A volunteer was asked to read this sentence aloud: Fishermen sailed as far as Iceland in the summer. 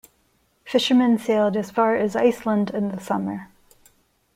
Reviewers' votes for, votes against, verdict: 2, 0, accepted